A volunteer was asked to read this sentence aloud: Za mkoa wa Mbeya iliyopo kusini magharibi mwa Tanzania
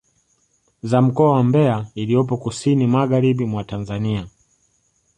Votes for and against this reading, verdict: 0, 2, rejected